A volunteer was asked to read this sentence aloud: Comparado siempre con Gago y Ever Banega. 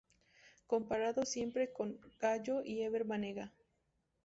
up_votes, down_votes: 2, 0